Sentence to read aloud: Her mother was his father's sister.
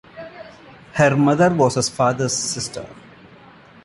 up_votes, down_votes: 2, 0